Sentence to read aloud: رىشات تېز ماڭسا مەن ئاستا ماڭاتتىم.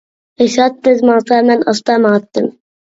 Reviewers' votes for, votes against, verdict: 1, 2, rejected